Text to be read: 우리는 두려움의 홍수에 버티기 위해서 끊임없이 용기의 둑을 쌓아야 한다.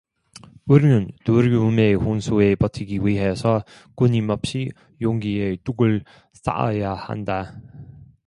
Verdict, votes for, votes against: accepted, 2, 0